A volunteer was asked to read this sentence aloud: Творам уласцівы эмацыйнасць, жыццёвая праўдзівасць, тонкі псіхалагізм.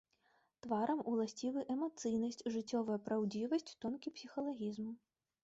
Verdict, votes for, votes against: rejected, 1, 2